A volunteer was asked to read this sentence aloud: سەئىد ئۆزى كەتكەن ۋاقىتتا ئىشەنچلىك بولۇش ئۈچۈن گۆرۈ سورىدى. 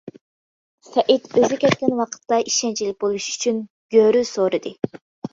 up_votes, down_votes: 2, 0